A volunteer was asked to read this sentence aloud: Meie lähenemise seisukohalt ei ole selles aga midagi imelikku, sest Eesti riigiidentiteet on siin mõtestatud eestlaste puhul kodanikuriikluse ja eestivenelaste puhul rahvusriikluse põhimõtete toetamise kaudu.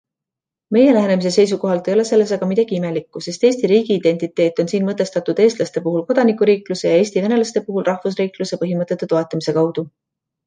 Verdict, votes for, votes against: accepted, 2, 0